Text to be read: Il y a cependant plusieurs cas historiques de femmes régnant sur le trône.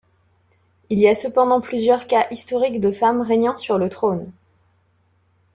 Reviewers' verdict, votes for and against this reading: accepted, 2, 1